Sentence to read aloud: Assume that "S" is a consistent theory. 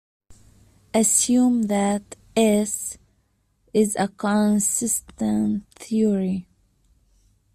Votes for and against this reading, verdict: 0, 2, rejected